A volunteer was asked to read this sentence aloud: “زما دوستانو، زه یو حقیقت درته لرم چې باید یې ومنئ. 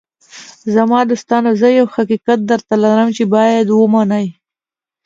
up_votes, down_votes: 3, 0